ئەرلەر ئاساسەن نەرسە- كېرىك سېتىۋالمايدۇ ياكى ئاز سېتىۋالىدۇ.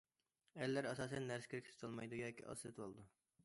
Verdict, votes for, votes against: rejected, 1, 2